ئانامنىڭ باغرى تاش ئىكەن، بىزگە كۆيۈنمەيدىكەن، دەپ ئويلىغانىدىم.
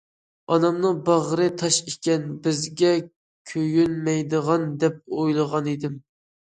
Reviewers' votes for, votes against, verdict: 0, 2, rejected